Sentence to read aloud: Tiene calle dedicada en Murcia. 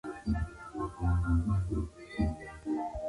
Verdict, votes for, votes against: rejected, 0, 2